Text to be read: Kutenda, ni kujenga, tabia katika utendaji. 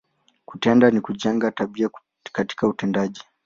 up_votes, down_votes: 8, 2